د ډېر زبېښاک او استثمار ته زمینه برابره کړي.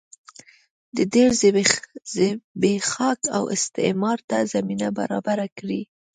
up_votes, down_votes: 1, 2